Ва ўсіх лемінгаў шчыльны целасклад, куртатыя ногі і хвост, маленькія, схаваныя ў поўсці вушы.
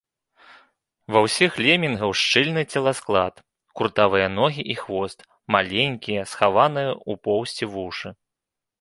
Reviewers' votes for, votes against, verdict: 0, 2, rejected